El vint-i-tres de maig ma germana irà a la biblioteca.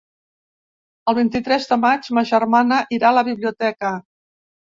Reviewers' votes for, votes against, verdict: 3, 0, accepted